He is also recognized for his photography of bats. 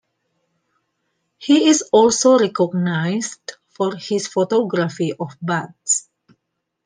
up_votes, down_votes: 2, 0